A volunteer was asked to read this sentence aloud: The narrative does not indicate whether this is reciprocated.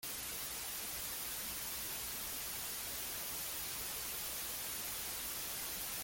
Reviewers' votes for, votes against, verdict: 0, 2, rejected